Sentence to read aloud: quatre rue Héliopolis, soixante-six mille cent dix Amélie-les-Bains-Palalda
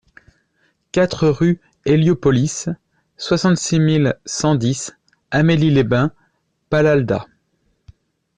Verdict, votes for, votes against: accepted, 2, 0